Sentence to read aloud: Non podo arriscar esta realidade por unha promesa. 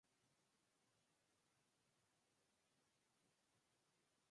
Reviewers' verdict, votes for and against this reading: rejected, 0, 4